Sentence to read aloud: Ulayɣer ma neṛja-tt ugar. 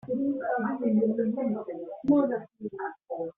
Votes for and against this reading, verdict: 0, 2, rejected